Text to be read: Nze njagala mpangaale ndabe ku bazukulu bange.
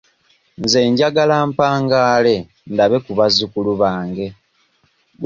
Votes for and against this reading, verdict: 2, 0, accepted